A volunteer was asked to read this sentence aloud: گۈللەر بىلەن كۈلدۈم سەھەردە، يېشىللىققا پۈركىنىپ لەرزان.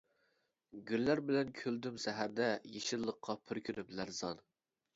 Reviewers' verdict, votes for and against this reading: rejected, 0, 2